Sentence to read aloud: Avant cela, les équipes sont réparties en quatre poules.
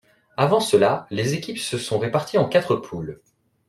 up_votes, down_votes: 0, 2